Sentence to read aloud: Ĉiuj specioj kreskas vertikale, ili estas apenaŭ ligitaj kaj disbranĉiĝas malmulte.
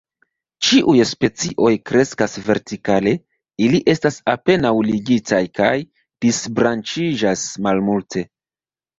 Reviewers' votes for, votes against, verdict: 2, 0, accepted